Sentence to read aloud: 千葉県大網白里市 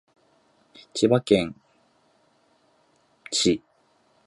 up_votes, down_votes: 0, 2